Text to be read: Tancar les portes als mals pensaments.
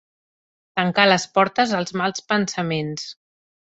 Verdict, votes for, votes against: accepted, 3, 0